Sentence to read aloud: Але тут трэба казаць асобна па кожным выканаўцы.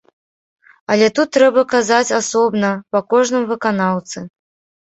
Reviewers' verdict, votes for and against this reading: accepted, 3, 0